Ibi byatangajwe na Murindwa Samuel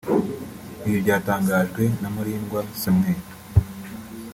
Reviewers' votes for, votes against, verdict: 4, 0, accepted